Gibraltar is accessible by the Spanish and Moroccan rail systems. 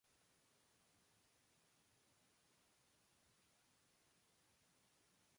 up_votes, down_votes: 0, 2